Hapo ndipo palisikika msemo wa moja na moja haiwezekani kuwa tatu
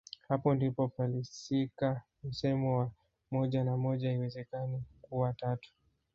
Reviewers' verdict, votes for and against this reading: accepted, 2, 0